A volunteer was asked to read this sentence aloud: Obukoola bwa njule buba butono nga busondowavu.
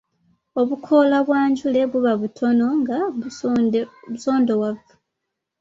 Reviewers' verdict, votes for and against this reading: accepted, 2, 1